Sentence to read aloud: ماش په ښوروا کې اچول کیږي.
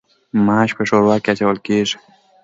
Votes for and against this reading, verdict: 2, 0, accepted